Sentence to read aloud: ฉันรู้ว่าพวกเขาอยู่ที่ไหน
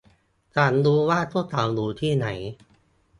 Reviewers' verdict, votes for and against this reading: rejected, 1, 2